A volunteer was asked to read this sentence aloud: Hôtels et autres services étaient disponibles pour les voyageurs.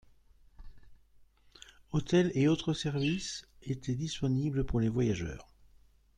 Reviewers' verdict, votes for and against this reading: accepted, 2, 0